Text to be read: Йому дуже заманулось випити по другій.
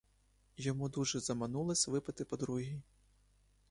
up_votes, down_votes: 1, 2